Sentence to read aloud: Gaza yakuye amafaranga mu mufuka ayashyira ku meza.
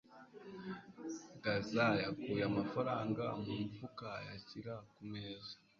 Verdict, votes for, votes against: accepted, 2, 0